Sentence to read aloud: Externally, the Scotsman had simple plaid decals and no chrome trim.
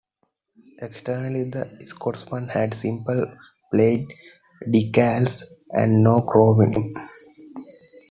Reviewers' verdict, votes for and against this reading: rejected, 0, 2